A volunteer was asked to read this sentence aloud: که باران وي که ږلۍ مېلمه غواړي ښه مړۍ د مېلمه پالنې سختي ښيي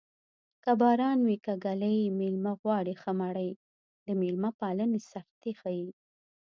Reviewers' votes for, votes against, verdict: 2, 0, accepted